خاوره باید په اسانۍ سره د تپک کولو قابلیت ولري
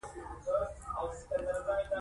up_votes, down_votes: 0, 2